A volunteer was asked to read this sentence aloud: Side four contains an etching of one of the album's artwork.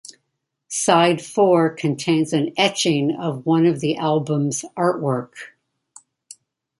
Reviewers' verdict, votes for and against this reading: accepted, 2, 0